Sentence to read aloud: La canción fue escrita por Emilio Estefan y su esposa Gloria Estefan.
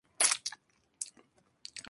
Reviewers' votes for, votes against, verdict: 0, 4, rejected